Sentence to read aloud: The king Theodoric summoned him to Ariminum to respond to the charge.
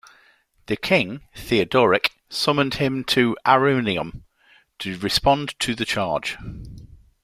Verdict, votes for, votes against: rejected, 1, 2